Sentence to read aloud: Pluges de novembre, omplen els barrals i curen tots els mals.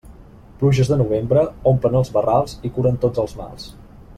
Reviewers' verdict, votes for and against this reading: accepted, 2, 0